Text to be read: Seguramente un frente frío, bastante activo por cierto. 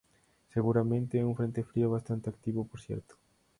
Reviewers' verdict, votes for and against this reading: accepted, 2, 0